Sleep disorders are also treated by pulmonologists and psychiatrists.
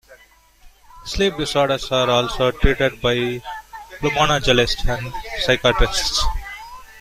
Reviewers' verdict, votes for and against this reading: rejected, 0, 2